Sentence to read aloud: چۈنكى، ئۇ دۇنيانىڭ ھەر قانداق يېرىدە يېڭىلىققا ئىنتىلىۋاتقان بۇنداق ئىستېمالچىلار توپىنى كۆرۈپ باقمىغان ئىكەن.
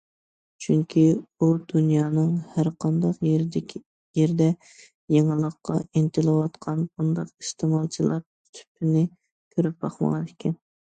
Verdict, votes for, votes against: rejected, 1, 2